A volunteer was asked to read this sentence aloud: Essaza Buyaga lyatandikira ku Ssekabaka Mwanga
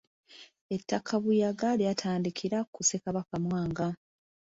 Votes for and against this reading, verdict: 2, 3, rejected